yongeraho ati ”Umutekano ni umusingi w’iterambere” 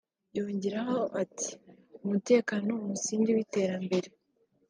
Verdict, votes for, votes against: rejected, 0, 2